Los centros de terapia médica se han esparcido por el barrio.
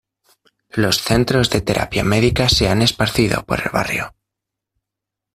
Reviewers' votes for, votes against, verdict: 2, 1, accepted